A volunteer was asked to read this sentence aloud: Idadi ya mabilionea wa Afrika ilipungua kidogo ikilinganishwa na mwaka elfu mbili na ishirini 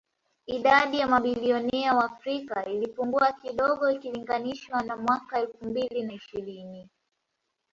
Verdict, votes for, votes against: rejected, 0, 2